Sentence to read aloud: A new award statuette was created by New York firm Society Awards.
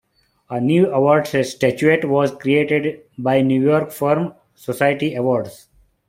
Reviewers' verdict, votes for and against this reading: rejected, 1, 2